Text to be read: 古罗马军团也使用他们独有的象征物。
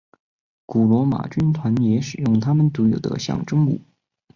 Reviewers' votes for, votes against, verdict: 2, 0, accepted